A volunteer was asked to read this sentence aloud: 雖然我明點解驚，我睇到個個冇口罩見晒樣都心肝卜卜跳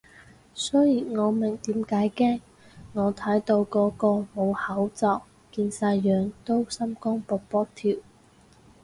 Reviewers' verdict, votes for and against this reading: rejected, 2, 2